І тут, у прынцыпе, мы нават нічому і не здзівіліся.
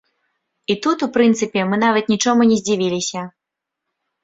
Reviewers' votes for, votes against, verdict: 1, 2, rejected